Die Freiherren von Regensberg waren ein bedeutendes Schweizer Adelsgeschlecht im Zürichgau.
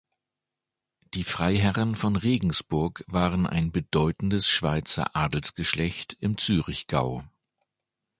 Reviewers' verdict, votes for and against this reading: rejected, 1, 2